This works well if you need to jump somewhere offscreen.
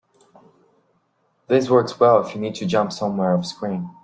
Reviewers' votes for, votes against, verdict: 2, 0, accepted